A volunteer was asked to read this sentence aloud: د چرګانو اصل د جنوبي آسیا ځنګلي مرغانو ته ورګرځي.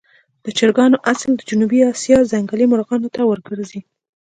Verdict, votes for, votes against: accepted, 2, 1